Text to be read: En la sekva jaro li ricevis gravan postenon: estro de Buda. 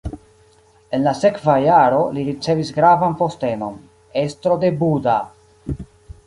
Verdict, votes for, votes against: accepted, 2, 1